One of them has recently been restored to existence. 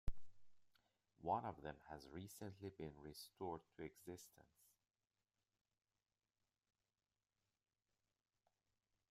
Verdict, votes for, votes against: rejected, 1, 2